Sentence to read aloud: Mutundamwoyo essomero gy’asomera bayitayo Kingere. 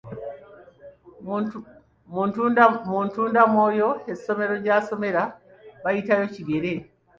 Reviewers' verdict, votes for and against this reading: rejected, 0, 2